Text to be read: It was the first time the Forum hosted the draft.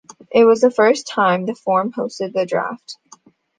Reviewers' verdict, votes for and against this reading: accepted, 2, 0